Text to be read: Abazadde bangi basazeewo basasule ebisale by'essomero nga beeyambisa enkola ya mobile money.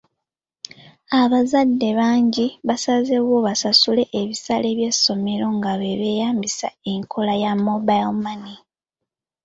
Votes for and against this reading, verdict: 2, 1, accepted